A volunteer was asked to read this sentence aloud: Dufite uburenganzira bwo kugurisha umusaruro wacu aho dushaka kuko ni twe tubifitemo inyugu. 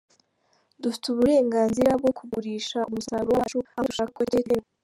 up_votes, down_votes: 0, 2